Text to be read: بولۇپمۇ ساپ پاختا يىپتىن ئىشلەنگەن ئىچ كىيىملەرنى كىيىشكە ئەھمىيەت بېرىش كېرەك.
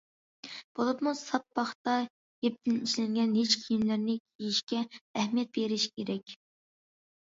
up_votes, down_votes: 1, 2